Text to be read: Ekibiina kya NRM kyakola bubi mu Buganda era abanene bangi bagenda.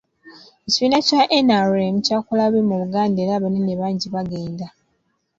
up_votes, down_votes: 2, 1